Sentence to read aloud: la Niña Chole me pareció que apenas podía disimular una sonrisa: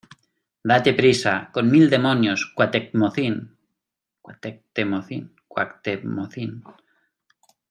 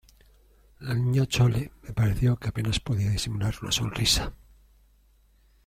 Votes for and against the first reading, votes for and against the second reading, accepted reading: 0, 2, 2, 0, second